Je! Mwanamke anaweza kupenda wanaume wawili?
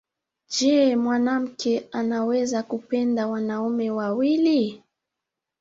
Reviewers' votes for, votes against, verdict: 1, 2, rejected